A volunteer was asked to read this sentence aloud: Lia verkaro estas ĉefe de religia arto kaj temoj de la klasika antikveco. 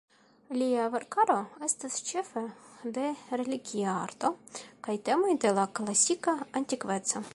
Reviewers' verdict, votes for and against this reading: accepted, 2, 0